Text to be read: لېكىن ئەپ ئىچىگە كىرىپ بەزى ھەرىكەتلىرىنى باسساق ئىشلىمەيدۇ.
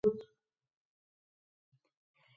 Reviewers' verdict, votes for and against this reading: rejected, 0, 2